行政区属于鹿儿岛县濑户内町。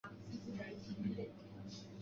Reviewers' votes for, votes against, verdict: 0, 3, rejected